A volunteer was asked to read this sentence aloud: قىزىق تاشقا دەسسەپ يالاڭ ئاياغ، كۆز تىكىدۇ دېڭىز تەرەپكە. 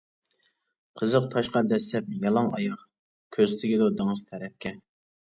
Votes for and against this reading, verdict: 0, 2, rejected